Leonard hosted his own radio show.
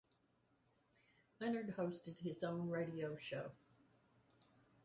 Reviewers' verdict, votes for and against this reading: accepted, 4, 0